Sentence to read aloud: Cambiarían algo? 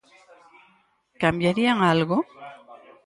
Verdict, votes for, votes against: accepted, 4, 0